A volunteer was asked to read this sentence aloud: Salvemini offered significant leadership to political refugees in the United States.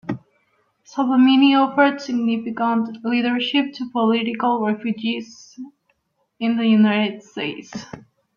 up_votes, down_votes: 2, 0